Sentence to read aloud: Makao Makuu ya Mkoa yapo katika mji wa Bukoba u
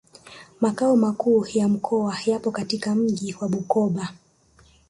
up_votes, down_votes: 0, 2